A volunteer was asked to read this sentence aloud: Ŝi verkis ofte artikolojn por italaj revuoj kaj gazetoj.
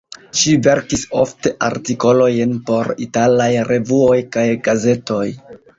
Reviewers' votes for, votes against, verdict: 2, 3, rejected